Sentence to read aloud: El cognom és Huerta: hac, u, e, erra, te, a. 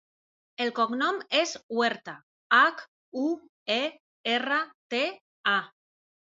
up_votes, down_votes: 2, 0